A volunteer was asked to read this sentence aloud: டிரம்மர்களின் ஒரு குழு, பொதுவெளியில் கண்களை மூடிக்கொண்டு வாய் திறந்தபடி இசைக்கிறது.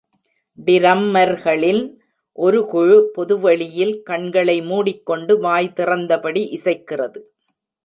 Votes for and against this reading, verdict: 1, 2, rejected